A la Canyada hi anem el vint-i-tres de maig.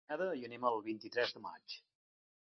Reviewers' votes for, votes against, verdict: 0, 2, rejected